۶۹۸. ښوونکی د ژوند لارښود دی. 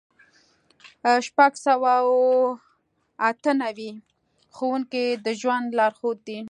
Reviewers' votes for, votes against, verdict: 0, 2, rejected